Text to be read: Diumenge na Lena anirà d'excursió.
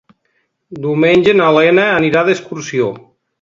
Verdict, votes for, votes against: accepted, 2, 0